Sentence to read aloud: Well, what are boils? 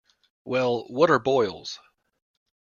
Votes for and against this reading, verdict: 2, 0, accepted